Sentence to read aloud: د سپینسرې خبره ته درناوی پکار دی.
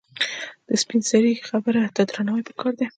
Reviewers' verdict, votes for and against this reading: rejected, 1, 2